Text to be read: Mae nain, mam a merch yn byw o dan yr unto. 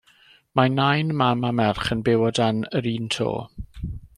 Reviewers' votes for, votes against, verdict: 3, 1, accepted